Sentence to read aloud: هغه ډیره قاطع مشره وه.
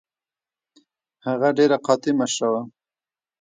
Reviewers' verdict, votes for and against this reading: rejected, 0, 2